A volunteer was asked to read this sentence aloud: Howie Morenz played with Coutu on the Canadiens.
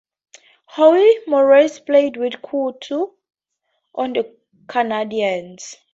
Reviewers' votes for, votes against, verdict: 4, 0, accepted